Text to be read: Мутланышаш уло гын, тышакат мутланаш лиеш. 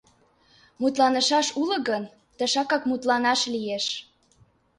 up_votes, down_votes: 1, 2